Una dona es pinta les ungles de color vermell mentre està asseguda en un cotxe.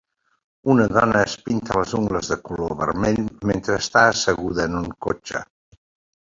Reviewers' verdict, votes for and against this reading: rejected, 1, 2